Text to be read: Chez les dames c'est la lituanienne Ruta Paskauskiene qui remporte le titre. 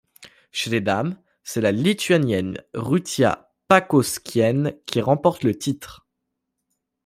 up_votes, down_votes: 0, 2